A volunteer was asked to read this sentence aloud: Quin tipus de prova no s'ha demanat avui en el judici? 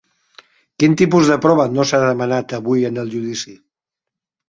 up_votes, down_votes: 6, 0